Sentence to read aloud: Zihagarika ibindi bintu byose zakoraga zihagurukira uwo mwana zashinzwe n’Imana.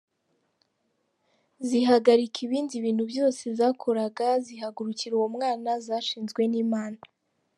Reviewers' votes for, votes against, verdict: 2, 0, accepted